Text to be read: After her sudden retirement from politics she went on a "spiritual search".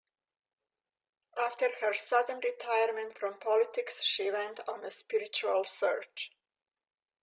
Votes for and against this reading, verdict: 2, 0, accepted